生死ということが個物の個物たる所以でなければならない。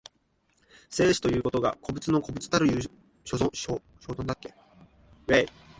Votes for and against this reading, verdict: 1, 2, rejected